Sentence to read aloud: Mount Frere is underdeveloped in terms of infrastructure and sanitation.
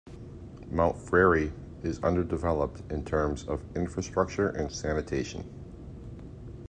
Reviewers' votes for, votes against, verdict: 2, 0, accepted